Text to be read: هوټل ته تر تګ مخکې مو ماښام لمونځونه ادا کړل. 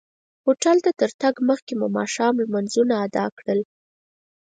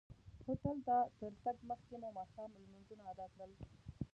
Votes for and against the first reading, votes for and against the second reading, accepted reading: 4, 0, 1, 2, first